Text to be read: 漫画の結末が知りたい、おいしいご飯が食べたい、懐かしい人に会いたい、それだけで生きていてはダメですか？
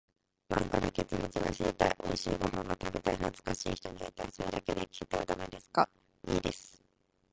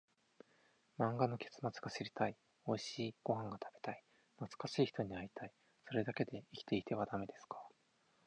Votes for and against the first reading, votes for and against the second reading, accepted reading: 0, 2, 4, 2, second